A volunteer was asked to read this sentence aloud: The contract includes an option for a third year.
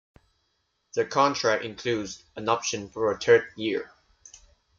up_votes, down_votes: 3, 0